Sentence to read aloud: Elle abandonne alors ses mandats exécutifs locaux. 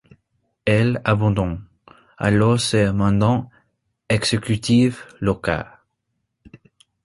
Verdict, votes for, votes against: rejected, 1, 2